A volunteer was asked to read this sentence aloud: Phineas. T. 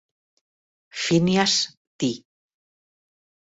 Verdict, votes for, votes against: rejected, 1, 2